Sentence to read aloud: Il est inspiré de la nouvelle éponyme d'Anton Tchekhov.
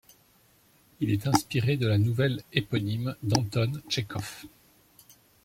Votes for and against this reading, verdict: 2, 0, accepted